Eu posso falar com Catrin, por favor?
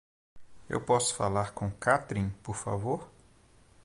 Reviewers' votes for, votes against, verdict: 2, 0, accepted